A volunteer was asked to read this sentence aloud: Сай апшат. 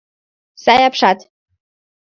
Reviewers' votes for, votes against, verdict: 2, 0, accepted